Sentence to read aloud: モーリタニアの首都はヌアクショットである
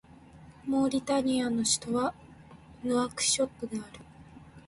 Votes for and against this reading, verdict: 2, 0, accepted